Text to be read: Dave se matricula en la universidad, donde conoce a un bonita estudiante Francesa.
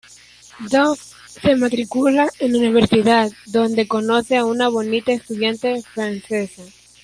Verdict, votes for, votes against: accepted, 2, 1